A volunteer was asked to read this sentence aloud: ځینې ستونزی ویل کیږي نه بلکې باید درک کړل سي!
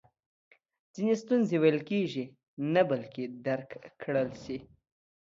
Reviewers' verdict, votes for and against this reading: rejected, 1, 2